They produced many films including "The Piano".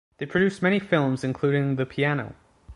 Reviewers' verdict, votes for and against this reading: accepted, 2, 0